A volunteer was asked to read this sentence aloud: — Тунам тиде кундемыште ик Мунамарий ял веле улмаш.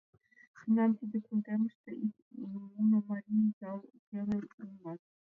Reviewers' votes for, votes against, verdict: 1, 2, rejected